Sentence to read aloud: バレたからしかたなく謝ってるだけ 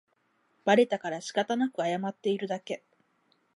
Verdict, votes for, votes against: rejected, 2, 4